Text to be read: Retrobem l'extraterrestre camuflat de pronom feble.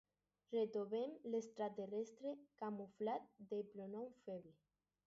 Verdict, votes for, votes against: rejected, 2, 2